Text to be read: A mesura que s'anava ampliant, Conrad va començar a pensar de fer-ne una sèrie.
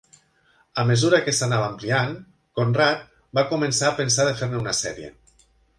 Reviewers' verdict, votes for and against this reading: accepted, 2, 0